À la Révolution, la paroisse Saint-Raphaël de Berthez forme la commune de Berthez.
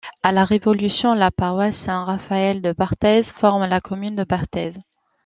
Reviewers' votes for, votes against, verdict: 1, 2, rejected